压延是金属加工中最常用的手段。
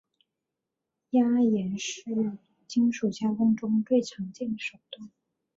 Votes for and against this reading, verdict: 2, 0, accepted